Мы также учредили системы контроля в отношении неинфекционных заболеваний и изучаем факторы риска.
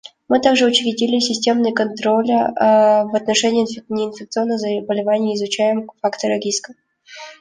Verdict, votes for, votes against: rejected, 0, 2